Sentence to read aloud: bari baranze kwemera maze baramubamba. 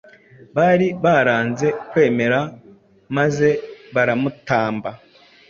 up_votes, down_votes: 1, 2